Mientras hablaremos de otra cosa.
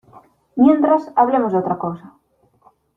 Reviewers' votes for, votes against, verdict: 0, 2, rejected